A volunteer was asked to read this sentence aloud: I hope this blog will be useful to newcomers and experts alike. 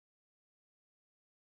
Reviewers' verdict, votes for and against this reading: rejected, 0, 2